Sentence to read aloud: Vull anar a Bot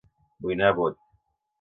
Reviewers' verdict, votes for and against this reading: rejected, 1, 2